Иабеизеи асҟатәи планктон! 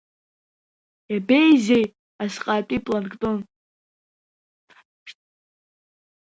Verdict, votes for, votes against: rejected, 1, 2